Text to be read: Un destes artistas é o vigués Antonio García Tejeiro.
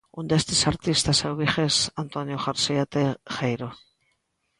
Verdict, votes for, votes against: rejected, 0, 2